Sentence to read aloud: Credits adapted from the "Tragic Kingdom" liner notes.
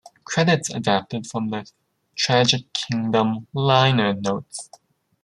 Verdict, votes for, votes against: rejected, 1, 2